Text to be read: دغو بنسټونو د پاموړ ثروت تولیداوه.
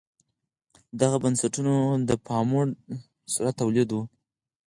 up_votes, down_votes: 4, 0